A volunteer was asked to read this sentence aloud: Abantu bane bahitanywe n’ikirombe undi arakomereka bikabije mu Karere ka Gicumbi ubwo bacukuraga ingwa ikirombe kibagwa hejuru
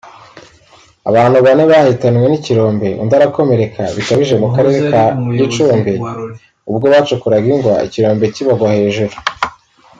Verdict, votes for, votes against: accepted, 2, 1